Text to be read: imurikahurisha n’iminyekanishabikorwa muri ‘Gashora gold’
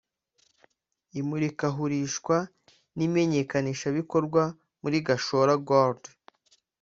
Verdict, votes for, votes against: rejected, 1, 2